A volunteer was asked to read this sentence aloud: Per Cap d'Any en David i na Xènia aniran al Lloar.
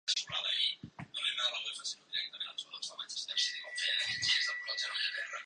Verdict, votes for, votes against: rejected, 0, 2